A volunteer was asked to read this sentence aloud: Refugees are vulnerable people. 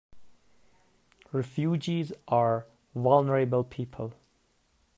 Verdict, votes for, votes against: rejected, 0, 2